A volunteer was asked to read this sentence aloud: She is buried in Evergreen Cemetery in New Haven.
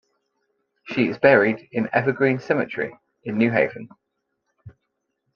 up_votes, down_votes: 2, 0